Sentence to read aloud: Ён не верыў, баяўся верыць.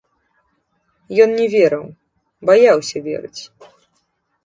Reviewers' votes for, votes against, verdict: 0, 2, rejected